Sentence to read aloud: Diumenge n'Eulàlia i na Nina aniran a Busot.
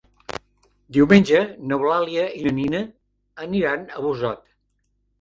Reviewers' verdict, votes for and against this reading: rejected, 0, 2